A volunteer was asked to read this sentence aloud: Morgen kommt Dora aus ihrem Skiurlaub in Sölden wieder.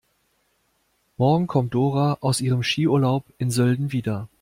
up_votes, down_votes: 2, 0